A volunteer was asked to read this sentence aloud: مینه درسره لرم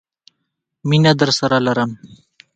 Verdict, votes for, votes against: rejected, 1, 2